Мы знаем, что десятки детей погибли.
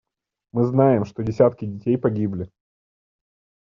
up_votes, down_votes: 2, 0